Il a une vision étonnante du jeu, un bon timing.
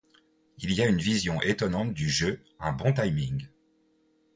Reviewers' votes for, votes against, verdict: 0, 2, rejected